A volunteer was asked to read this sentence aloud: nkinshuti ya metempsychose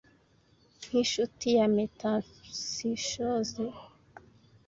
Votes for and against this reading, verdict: 1, 2, rejected